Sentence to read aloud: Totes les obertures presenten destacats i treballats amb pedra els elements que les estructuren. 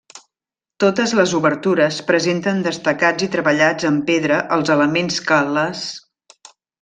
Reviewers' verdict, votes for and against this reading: rejected, 0, 2